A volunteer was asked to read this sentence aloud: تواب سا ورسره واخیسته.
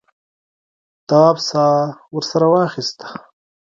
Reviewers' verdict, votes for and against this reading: rejected, 1, 2